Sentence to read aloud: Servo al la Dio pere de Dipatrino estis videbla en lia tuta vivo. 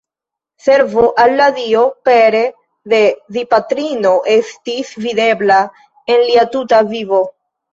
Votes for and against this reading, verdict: 2, 1, accepted